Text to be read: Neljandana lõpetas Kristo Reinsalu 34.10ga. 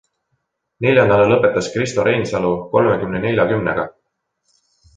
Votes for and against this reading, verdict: 0, 2, rejected